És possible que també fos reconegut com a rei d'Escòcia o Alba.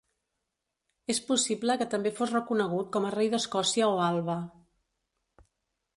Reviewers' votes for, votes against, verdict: 4, 0, accepted